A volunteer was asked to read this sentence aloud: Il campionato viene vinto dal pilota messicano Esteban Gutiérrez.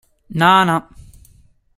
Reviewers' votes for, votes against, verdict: 0, 2, rejected